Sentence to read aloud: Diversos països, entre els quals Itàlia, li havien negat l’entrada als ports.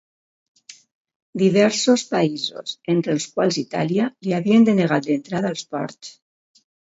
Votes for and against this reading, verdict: 1, 2, rejected